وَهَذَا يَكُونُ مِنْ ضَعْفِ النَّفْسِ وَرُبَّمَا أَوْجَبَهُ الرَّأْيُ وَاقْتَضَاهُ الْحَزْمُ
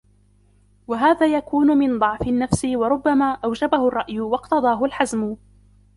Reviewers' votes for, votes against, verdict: 2, 1, accepted